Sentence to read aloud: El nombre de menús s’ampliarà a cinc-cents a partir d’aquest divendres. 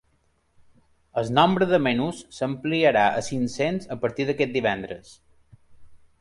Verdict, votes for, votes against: accepted, 3, 0